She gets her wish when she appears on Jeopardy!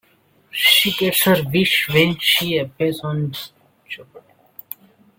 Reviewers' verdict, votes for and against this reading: rejected, 0, 2